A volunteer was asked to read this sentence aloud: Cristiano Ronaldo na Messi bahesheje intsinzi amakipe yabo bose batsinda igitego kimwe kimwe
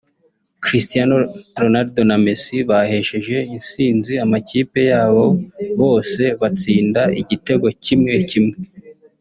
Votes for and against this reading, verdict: 2, 0, accepted